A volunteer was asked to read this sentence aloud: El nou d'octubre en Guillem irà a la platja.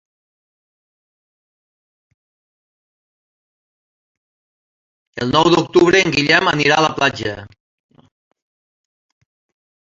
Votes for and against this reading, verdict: 0, 2, rejected